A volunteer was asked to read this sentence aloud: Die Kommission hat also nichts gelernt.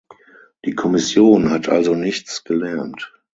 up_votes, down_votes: 6, 0